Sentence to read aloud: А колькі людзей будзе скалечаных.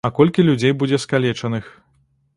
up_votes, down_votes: 2, 0